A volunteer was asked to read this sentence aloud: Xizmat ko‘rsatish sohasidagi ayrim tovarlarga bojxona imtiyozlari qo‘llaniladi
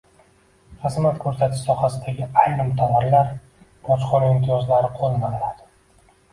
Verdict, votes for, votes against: rejected, 0, 2